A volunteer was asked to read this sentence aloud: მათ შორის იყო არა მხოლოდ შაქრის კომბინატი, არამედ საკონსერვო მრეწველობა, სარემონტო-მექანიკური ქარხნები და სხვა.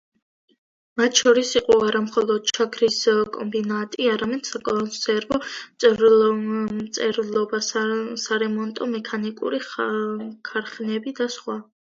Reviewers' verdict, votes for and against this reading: rejected, 0, 2